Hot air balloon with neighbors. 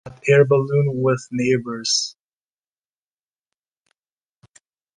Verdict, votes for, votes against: rejected, 1, 2